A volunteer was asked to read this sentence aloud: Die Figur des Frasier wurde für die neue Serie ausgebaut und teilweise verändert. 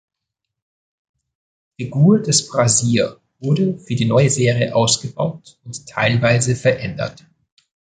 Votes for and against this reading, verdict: 0, 2, rejected